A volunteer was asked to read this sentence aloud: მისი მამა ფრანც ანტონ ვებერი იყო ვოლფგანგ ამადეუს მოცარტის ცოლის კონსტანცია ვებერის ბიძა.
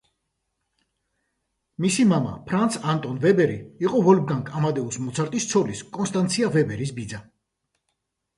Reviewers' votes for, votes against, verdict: 2, 0, accepted